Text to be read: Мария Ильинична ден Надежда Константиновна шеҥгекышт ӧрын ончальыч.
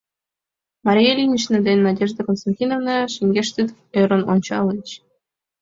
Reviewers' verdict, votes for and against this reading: rejected, 1, 2